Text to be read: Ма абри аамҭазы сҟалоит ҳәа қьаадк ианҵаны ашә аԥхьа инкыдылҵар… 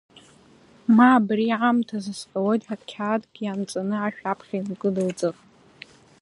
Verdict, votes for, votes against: accepted, 2, 0